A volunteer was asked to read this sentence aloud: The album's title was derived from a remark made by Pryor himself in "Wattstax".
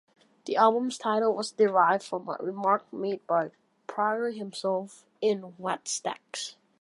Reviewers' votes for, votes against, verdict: 2, 1, accepted